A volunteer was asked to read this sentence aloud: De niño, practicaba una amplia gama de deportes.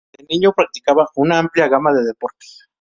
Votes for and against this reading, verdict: 2, 2, rejected